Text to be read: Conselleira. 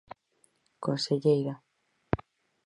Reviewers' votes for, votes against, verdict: 4, 0, accepted